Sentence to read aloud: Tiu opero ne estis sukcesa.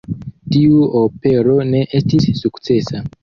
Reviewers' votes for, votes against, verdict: 1, 2, rejected